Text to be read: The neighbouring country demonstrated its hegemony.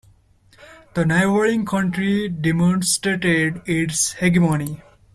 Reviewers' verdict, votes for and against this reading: rejected, 0, 2